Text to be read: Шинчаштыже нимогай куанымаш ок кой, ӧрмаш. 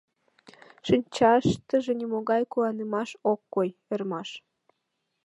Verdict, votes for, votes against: accepted, 3, 0